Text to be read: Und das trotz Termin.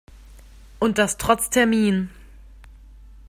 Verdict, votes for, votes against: accepted, 2, 0